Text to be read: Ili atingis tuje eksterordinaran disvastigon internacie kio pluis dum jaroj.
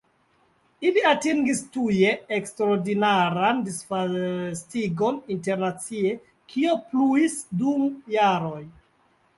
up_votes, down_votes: 1, 2